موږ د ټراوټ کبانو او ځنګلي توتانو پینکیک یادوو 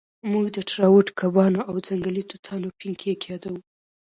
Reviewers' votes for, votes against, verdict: 0, 2, rejected